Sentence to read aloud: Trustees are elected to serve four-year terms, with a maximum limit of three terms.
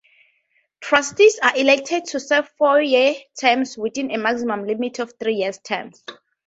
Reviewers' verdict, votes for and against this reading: accepted, 2, 0